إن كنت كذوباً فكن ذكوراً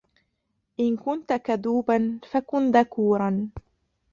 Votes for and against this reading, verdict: 1, 2, rejected